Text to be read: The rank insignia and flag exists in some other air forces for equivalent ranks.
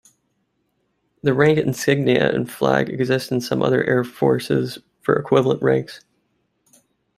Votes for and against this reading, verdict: 2, 0, accepted